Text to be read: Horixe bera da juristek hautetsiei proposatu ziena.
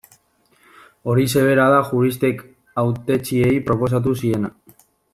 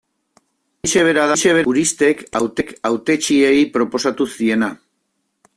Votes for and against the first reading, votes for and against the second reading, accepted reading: 2, 0, 0, 2, first